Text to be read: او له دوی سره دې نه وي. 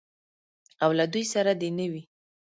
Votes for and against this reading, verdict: 0, 2, rejected